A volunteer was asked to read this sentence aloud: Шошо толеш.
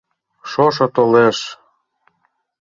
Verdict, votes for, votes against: accepted, 2, 0